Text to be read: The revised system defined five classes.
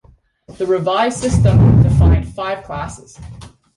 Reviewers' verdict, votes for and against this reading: rejected, 0, 2